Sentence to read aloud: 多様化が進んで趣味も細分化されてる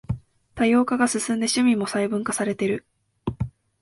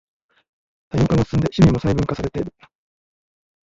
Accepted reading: first